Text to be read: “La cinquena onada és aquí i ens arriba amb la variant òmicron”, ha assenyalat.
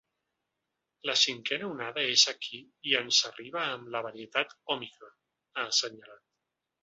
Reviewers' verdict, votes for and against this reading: rejected, 1, 2